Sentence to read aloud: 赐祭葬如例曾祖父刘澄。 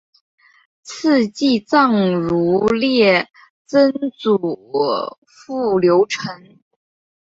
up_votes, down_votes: 5, 1